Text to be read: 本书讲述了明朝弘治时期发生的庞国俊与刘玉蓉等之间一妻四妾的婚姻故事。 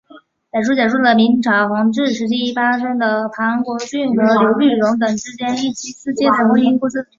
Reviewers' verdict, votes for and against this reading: accepted, 4, 1